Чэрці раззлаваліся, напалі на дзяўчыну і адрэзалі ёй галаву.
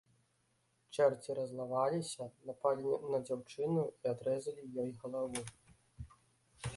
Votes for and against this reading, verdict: 1, 2, rejected